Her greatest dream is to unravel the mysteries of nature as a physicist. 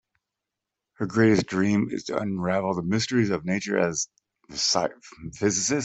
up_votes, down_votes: 0, 2